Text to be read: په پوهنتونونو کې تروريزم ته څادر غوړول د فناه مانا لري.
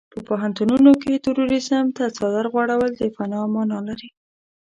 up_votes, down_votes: 1, 2